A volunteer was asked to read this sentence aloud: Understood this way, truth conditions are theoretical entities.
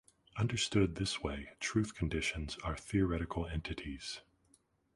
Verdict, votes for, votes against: accepted, 2, 0